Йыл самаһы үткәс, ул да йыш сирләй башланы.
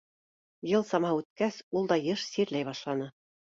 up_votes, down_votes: 2, 0